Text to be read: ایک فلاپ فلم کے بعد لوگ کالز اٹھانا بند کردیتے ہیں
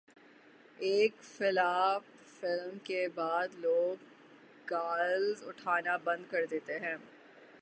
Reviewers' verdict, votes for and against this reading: rejected, 0, 3